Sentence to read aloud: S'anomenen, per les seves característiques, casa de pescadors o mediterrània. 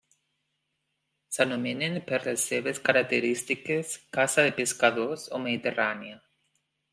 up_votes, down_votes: 2, 0